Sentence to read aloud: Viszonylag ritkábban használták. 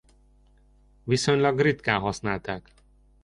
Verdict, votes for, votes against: rejected, 0, 2